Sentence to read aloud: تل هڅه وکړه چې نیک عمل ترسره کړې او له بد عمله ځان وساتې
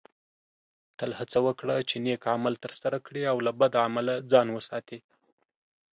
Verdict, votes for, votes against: accepted, 2, 0